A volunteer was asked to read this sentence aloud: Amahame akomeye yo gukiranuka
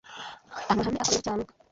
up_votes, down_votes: 1, 2